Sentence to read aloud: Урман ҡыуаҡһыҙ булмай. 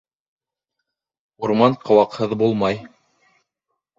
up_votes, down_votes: 2, 0